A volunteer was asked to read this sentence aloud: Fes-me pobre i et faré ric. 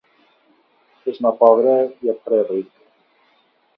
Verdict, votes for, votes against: rejected, 0, 2